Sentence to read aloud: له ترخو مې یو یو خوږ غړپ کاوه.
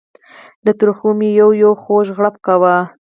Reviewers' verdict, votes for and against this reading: rejected, 0, 4